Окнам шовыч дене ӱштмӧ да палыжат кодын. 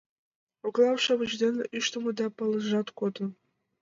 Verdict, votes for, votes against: accepted, 2, 0